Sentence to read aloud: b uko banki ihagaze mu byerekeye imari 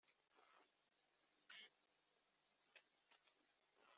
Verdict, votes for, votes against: rejected, 0, 2